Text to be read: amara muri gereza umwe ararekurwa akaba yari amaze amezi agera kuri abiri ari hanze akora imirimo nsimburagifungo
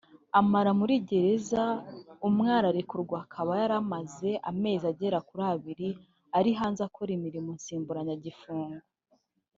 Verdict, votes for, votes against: rejected, 1, 2